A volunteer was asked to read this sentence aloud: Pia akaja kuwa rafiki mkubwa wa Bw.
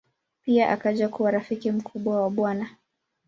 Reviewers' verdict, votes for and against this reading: accepted, 2, 0